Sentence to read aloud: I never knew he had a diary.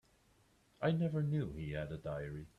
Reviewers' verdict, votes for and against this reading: accepted, 3, 0